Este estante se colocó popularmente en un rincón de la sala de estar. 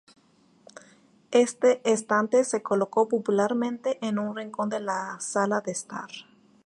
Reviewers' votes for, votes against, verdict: 4, 0, accepted